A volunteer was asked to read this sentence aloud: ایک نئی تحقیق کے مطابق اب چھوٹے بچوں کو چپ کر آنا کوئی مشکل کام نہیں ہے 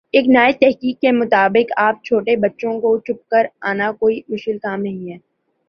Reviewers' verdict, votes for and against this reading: rejected, 1, 2